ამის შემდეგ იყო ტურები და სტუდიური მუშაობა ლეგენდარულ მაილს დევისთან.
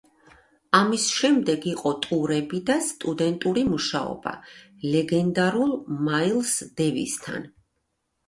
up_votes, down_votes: 0, 2